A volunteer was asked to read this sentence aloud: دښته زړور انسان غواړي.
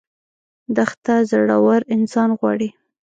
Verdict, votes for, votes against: rejected, 0, 2